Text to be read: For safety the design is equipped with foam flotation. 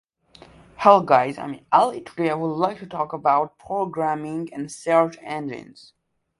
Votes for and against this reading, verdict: 0, 2, rejected